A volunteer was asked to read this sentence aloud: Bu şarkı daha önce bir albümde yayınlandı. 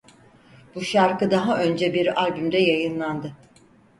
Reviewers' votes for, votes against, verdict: 4, 0, accepted